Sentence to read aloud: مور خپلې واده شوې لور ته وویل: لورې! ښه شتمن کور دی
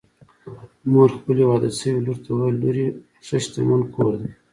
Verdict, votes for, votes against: accepted, 2, 1